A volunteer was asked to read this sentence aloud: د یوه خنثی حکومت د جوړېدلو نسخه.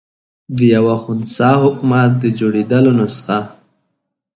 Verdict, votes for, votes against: accepted, 2, 0